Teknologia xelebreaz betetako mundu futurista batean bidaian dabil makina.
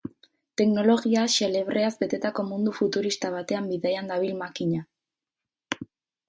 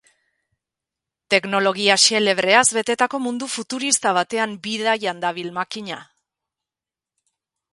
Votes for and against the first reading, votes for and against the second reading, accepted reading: 2, 2, 2, 0, second